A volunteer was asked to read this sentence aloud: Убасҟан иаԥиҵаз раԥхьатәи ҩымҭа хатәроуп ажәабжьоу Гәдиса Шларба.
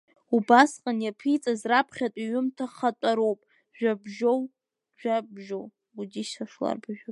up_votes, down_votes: 0, 2